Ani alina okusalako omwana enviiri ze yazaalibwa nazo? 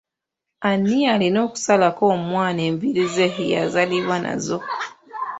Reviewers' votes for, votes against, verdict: 2, 0, accepted